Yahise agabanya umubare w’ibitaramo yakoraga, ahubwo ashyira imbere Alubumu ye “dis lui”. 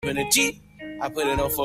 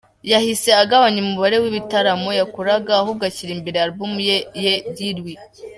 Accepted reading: second